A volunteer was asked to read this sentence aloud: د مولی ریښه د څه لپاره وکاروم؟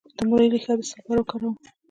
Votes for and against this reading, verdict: 1, 2, rejected